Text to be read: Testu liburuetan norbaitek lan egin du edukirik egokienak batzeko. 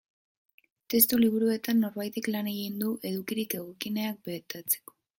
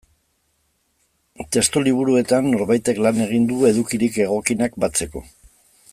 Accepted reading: second